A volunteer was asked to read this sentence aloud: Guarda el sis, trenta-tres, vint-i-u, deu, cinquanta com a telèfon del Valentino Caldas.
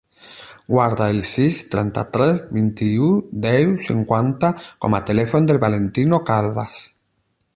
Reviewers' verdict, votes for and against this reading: accepted, 12, 0